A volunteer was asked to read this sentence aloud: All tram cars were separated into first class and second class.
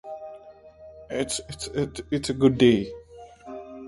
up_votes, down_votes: 0, 2